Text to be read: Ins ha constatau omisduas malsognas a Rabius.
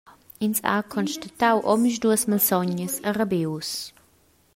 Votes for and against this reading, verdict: 1, 2, rejected